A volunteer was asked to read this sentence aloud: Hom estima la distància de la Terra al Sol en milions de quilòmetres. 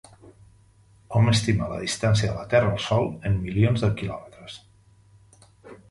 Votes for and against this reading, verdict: 2, 0, accepted